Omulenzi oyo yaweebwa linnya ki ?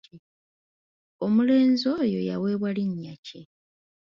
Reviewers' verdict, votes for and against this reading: accepted, 2, 0